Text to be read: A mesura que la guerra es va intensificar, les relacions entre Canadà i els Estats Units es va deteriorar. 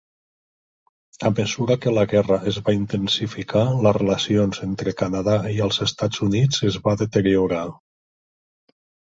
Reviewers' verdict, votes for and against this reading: accepted, 3, 0